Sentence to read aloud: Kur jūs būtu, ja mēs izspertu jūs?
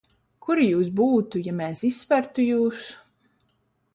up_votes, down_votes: 2, 0